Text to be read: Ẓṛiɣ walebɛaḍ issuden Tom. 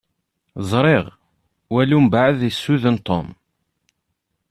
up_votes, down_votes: 0, 2